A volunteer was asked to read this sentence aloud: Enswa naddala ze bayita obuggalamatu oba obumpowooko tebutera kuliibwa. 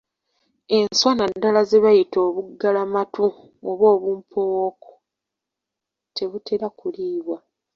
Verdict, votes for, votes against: accepted, 2, 0